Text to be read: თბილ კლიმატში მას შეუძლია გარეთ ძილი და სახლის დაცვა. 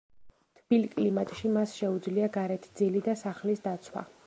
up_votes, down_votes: 2, 0